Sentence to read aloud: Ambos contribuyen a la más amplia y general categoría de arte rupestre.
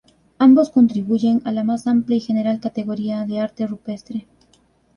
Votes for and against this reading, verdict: 2, 0, accepted